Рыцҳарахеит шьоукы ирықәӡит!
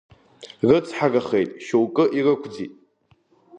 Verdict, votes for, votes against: accepted, 2, 0